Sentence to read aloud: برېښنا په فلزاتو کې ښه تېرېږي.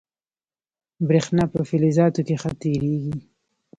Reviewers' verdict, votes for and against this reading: accepted, 2, 0